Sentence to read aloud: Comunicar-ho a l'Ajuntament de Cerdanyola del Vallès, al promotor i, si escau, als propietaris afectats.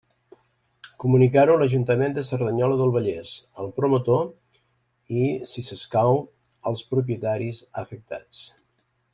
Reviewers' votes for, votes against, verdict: 1, 2, rejected